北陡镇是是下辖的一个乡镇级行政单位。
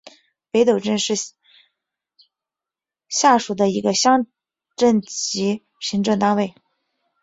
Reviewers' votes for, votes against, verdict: 0, 3, rejected